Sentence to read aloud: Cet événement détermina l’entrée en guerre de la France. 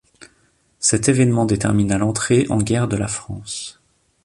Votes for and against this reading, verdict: 2, 0, accepted